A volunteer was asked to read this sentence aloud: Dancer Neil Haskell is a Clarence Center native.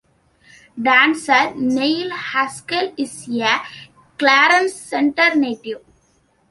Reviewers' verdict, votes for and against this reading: accepted, 2, 0